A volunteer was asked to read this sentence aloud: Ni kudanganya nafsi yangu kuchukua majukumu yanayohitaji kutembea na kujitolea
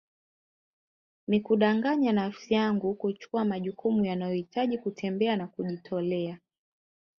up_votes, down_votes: 1, 2